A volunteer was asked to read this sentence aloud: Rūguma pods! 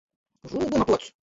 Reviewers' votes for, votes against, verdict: 0, 2, rejected